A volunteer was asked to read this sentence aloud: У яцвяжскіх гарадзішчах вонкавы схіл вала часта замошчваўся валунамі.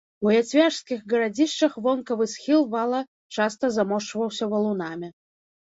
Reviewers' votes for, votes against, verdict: 2, 0, accepted